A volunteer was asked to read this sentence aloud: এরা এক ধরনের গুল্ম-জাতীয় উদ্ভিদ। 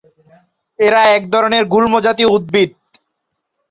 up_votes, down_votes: 1, 2